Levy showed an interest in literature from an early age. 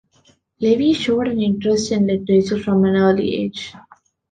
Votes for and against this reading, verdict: 1, 2, rejected